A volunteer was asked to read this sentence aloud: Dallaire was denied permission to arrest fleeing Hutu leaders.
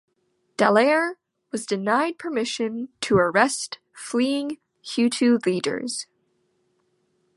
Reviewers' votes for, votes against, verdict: 2, 0, accepted